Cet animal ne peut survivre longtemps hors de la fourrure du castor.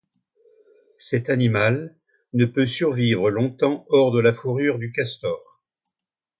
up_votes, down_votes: 2, 0